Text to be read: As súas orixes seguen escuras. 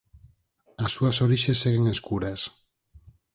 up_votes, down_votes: 4, 0